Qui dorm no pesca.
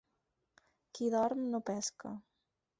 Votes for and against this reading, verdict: 4, 0, accepted